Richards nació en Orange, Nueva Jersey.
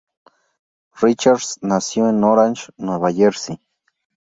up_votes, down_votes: 2, 0